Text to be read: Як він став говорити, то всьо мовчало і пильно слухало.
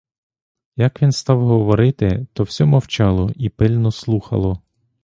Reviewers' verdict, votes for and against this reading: accepted, 2, 0